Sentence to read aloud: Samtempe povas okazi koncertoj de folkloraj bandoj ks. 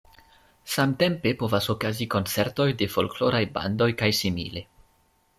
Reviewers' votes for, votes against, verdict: 2, 1, accepted